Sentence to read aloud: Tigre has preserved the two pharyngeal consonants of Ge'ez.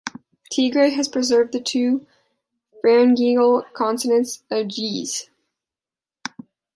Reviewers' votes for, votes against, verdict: 0, 2, rejected